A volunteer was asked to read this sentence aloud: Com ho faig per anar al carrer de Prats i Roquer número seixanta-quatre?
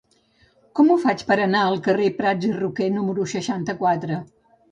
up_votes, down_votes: 0, 2